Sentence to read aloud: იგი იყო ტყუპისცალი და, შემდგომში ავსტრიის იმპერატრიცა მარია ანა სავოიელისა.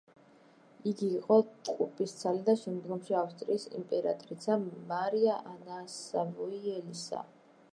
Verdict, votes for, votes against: accepted, 2, 0